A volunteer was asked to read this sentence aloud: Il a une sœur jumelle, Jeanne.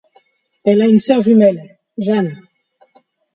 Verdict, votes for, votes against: rejected, 1, 2